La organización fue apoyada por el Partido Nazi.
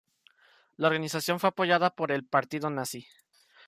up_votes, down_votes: 2, 0